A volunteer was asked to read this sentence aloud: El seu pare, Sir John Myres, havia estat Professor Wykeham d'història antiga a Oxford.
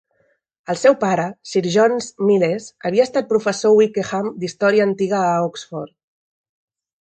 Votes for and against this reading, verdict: 1, 2, rejected